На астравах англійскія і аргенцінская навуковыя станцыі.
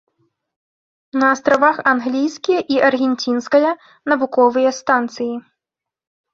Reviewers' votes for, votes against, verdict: 2, 0, accepted